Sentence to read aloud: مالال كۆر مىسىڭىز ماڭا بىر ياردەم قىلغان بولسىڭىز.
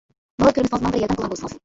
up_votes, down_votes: 0, 2